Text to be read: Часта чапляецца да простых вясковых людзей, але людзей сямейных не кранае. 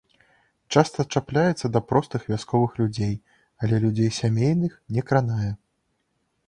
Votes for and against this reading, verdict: 2, 0, accepted